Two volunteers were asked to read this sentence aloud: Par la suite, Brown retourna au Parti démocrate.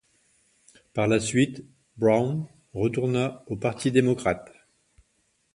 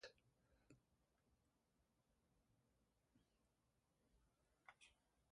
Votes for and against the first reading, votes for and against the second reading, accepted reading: 2, 0, 1, 2, first